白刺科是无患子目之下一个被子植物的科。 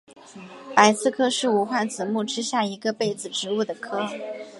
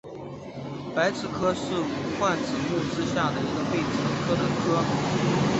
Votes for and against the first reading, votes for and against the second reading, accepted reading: 4, 4, 2, 0, second